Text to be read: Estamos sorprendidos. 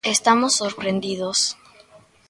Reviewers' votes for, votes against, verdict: 2, 0, accepted